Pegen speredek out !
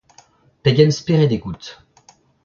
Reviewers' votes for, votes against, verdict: 0, 2, rejected